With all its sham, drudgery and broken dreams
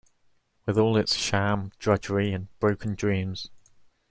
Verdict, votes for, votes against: accepted, 2, 0